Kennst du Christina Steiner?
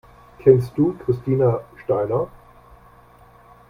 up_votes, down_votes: 2, 0